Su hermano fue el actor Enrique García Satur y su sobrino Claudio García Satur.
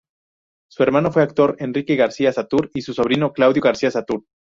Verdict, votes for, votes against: rejected, 0, 2